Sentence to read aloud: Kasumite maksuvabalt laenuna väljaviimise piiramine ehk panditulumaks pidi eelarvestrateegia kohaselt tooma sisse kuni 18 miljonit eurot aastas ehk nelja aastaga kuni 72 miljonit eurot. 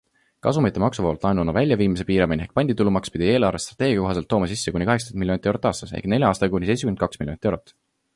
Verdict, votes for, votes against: rejected, 0, 2